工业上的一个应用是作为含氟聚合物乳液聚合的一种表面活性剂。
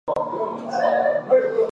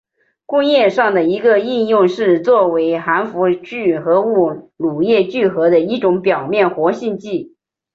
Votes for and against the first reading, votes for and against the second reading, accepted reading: 0, 2, 2, 0, second